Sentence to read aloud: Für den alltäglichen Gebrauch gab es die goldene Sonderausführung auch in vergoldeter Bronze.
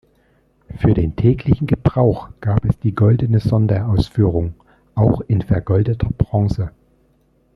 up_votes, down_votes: 1, 2